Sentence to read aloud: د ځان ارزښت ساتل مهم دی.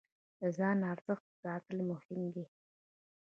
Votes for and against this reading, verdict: 1, 2, rejected